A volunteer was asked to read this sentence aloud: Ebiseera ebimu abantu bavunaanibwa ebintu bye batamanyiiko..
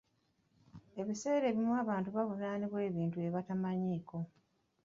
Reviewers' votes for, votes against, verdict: 2, 0, accepted